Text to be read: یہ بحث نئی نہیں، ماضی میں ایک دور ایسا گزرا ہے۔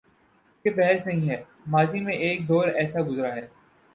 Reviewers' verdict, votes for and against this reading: accepted, 2, 0